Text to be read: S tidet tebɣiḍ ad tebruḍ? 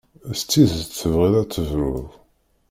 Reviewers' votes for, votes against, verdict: 2, 1, accepted